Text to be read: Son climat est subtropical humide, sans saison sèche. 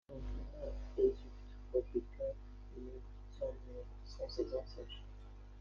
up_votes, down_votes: 0, 2